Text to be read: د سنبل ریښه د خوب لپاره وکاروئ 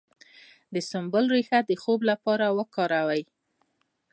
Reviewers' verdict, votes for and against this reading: accepted, 2, 1